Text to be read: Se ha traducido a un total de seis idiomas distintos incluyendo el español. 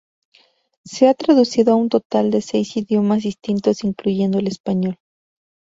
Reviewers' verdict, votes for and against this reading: rejected, 0, 2